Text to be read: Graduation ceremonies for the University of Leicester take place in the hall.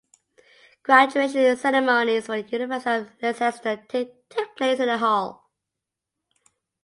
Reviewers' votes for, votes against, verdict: 0, 2, rejected